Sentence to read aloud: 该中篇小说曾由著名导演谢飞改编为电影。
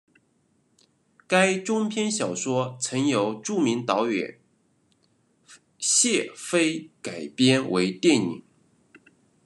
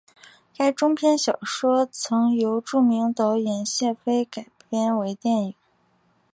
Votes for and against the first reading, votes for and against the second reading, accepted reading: 1, 2, 2, 0, second